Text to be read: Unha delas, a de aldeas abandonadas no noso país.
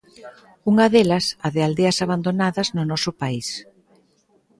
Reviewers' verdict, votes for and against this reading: accepted, 2, 0